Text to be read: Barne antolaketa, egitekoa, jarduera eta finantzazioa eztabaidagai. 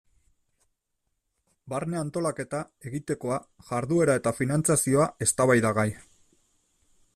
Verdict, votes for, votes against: accepted, 2, 0